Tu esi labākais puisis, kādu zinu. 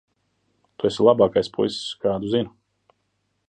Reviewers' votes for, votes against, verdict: 1, 2, rejected